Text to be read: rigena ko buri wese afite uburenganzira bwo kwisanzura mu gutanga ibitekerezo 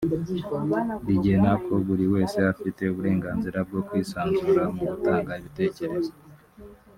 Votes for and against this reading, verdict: 1, 2, rejected